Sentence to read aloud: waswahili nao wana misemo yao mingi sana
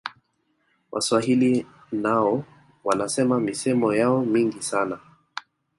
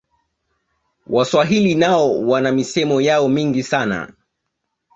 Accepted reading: second